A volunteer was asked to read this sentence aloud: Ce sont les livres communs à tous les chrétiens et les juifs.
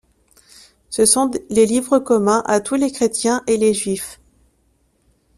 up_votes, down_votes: 1, 2